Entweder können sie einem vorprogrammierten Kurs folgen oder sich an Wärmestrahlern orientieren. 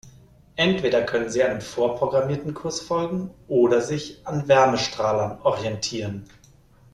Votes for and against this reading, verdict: 2, 0, accepted